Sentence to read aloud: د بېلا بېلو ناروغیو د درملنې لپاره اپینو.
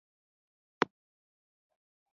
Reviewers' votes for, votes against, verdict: 0, 2, rejected